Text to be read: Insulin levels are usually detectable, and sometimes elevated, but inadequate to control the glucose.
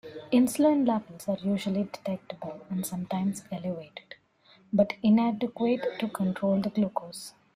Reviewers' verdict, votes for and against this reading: accepted, 2, 1